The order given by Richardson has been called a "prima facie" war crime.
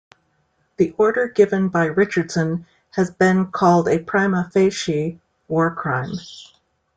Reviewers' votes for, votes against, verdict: 2, 0, accepted